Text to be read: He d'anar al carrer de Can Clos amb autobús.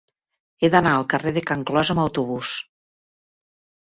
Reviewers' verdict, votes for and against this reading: accepted, 2, 1